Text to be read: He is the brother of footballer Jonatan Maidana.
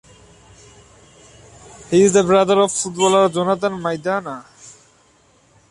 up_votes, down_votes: 1, 2